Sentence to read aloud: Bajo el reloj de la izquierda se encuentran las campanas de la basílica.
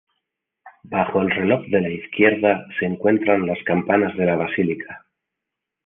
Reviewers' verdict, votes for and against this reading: accepted, 2, 0